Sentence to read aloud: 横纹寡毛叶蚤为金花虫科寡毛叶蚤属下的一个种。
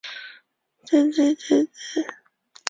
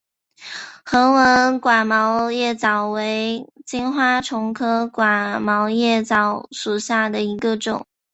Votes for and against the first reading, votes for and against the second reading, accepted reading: 0, 2, 4, 0, second